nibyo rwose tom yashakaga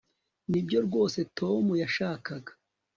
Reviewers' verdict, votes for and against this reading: accepted, 4, 0